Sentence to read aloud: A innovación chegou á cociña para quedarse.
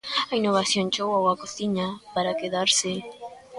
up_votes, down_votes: 2, 0